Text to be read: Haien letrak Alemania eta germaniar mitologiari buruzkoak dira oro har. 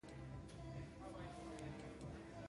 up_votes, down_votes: 0, 2